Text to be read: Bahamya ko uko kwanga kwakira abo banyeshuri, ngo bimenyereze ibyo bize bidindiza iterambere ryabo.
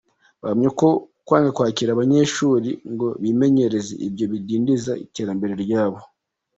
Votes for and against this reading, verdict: 3, 2, accepted